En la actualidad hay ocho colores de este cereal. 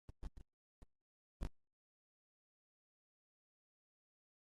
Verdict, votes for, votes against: rejected, 0, 2